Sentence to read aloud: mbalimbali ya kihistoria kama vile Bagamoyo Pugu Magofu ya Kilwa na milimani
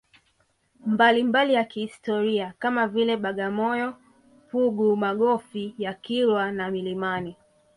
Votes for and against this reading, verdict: 2, 4, rejected